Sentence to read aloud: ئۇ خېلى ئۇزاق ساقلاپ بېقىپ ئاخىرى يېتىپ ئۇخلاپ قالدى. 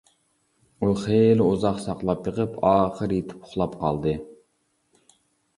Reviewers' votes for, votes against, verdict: 2, 0, accepted